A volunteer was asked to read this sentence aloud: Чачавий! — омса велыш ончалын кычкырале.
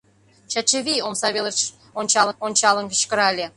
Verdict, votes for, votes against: rejected, 1, 2